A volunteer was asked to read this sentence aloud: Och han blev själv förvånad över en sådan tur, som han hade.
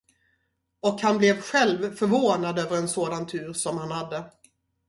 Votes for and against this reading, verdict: 2, 0, accepted